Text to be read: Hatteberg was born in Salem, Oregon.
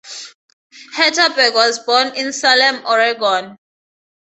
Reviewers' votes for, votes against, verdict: 4, 0, accepted